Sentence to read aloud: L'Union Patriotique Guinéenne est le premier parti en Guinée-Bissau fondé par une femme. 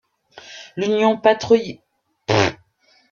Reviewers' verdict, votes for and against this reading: rejected, 0, 2